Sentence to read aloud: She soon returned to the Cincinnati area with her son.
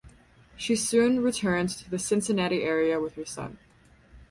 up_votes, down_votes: 4, 0